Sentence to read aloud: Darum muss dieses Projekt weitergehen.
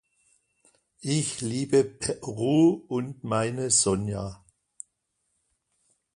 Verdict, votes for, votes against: rejected, 0, 2